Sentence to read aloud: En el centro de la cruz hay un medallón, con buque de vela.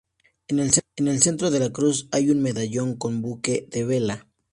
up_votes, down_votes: 0, 2